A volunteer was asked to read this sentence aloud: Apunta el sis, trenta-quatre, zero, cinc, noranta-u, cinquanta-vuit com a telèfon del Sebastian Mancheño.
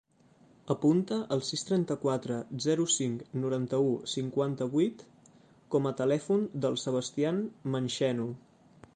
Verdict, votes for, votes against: rejected, 0, 2